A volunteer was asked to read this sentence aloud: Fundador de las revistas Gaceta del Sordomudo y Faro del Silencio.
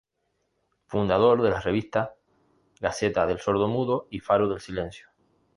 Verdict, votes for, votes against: rejected, 0, 2